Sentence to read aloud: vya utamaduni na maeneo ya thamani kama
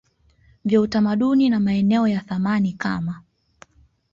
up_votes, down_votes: 2, 0